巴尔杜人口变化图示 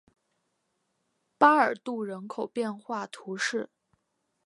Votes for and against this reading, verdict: 3, 0, accepted